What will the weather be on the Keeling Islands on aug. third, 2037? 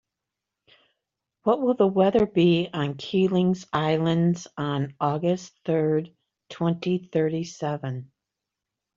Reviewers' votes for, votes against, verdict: 0, 2, rejected